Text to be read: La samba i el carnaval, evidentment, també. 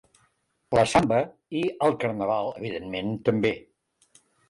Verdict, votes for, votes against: accepted, 2, 0